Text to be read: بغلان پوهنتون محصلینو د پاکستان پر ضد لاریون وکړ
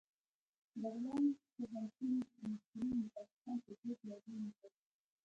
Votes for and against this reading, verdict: 0, 2, rejected